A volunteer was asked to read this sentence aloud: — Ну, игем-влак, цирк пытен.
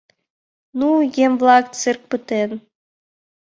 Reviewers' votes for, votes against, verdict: 2, 1, accepted